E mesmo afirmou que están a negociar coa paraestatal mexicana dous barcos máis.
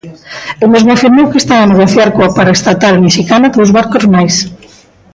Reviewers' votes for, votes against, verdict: 1, 2, rejected